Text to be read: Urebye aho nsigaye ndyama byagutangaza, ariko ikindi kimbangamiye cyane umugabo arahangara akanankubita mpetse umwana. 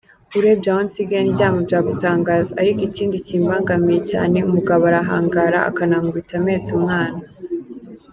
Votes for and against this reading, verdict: 2, 0, accepted